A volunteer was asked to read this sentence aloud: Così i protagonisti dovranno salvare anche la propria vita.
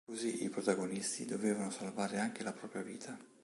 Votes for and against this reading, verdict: 1, 3, rejected